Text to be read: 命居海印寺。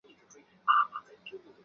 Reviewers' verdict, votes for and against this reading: rejected, 2, 4